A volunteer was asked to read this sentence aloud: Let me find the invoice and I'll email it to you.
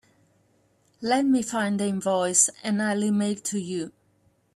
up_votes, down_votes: 2, 1